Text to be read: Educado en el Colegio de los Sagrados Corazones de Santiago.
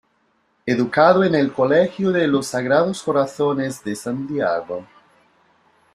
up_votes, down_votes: 2, 0